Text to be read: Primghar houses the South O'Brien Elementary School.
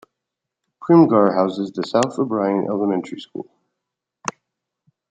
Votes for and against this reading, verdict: 2, 0, accepted